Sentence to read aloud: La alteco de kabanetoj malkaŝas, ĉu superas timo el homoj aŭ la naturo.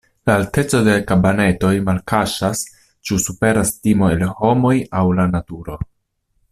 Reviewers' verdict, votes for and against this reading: accepted, 2, 0